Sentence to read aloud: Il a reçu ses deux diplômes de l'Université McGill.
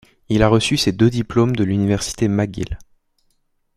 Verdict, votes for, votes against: accepted, 2, 0